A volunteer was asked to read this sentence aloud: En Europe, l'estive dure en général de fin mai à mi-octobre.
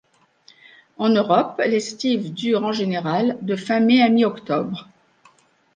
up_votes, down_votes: 2, 0